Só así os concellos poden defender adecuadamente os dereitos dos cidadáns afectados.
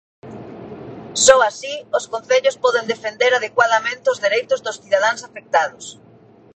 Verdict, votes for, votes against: accepted, 2, 0